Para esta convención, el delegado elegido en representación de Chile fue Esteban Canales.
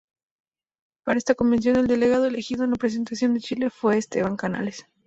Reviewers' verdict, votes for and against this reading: accepted, 2, 0